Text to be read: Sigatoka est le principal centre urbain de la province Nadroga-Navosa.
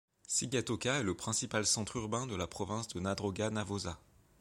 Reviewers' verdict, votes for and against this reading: rejected, 1, 2